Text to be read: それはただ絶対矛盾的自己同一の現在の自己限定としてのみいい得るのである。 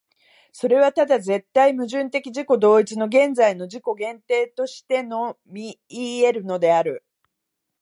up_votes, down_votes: 26, 5